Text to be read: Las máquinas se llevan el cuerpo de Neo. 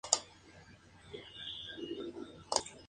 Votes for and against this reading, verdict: 0, 2, rejected